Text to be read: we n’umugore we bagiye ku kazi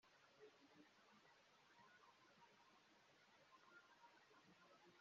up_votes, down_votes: 0, 2